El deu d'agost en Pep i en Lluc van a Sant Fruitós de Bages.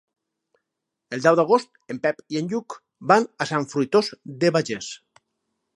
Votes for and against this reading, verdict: 0, 4, rejected